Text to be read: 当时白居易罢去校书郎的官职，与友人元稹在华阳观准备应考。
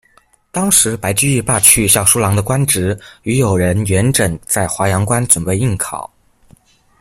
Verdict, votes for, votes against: rejected, 0, 2